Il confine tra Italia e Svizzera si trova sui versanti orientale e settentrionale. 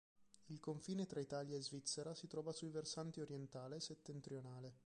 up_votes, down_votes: 1, 2